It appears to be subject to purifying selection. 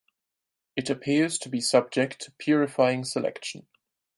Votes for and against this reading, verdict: 0, 6, rejected